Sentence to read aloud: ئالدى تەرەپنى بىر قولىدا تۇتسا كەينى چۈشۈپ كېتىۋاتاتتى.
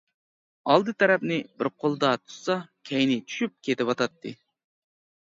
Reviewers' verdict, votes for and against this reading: accepted, 2, 0